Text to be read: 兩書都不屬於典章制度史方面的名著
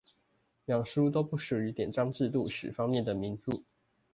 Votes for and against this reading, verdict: 2, 0, accepted